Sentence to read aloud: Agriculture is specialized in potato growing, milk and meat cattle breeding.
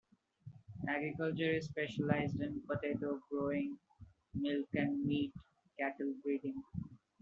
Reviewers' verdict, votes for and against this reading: rejected, 1, 2